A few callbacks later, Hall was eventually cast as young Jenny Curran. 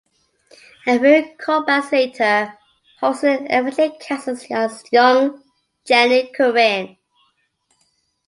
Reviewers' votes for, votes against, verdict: 1, 2, rejected